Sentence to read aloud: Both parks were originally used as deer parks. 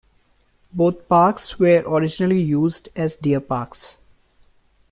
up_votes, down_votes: 2, 1